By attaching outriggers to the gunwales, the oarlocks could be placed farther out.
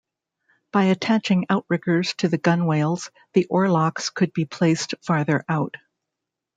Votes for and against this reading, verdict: 0, 2, rejected